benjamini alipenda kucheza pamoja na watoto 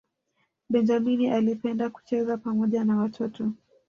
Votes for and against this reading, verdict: 1, 2, rejected